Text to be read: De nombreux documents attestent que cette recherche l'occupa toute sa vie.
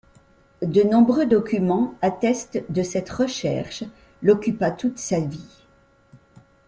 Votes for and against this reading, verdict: 0, 2, rejected